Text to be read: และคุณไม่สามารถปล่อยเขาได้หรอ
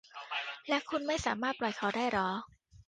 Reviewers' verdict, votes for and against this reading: rejected, 0, 2